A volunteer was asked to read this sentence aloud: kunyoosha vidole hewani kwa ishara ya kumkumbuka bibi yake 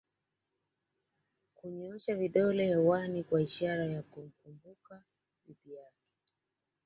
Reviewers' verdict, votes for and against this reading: accepted, 2, 1